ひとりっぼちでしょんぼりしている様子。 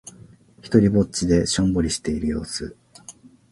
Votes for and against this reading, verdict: 2, 0, accepted